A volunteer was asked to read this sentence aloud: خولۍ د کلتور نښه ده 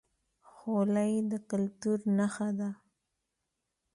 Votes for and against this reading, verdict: 2, 0, accepted